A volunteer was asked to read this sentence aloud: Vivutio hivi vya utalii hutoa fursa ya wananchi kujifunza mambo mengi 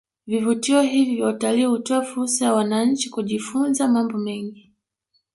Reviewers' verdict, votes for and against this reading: accepted, 2, 1